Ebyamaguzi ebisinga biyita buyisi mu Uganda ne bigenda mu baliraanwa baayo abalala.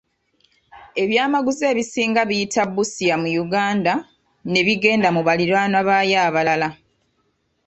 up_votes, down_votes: 0, 2